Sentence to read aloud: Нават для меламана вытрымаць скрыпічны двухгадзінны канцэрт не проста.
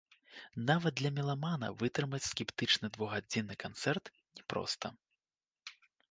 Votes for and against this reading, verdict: 0, 2, rejected